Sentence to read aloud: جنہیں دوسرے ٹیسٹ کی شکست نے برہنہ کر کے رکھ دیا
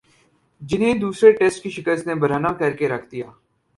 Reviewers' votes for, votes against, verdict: 20, 0, accepted